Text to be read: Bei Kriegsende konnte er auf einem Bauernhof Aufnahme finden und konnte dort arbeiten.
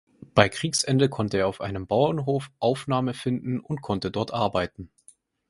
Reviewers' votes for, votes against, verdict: 4, 0, accepted